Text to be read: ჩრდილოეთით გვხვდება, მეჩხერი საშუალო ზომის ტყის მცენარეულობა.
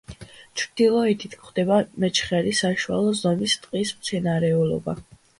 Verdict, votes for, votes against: accepted, 2, 0